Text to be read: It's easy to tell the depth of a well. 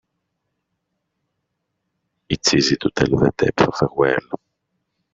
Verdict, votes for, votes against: rejected, 1, 2